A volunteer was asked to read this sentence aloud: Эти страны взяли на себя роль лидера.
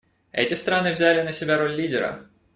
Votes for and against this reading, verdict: 2, 0, accepted